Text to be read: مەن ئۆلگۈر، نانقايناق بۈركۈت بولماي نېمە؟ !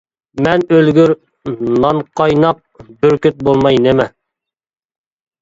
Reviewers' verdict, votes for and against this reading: accepted, 2, 0